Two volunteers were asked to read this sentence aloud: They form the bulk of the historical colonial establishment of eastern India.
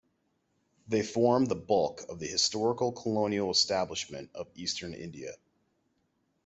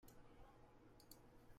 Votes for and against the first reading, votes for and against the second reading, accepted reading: 2, 0, 0, 2, first